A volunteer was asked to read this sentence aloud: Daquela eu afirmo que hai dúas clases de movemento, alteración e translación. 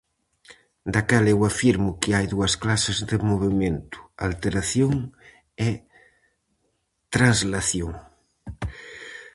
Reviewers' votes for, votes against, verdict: 2, 2, rejected